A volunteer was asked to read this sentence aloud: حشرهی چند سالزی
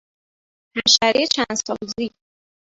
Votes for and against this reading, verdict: 1, 2, rejected